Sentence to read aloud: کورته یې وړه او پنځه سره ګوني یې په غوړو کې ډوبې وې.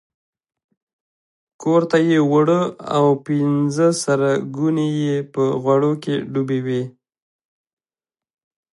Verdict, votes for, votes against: accepted, 2, 1